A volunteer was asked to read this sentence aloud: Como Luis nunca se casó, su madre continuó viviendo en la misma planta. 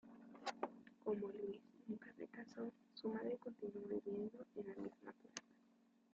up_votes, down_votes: 0, 2